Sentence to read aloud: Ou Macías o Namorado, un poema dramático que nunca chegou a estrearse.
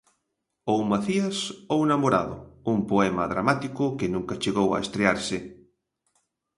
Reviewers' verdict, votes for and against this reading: rejected, 1, 2